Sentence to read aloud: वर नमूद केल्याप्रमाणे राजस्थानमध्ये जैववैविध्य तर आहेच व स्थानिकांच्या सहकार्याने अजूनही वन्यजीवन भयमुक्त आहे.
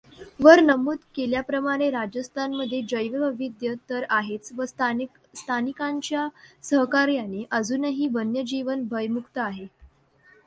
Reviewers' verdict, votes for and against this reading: accepted, 2, 0